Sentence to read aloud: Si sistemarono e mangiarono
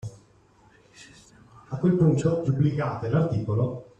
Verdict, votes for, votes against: rejected, 0, 2